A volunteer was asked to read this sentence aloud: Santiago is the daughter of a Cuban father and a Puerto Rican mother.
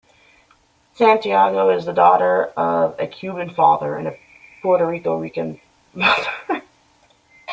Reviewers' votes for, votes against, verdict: 0, 2, rejected